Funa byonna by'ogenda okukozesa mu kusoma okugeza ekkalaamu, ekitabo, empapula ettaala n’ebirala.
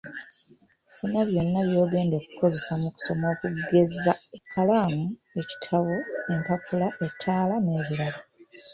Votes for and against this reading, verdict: 2, 0, accepted